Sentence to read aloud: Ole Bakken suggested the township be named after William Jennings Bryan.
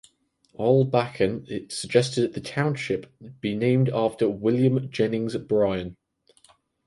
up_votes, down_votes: 2, 4